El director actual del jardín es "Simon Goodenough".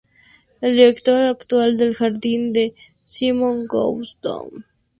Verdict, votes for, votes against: rejected, 0, 2